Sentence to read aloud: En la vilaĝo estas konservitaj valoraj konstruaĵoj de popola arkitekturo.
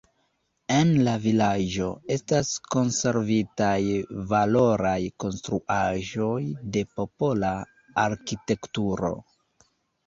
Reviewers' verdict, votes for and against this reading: accepted, 2, 0